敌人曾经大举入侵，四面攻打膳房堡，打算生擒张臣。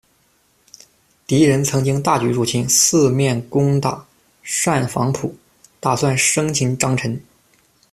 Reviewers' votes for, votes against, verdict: 0, 2, rejected